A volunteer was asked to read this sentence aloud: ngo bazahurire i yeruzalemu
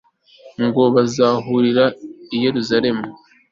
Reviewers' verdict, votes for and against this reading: accepted, 2, 0